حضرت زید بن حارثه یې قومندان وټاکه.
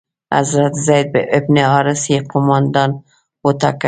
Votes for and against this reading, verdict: 1, 2, rejected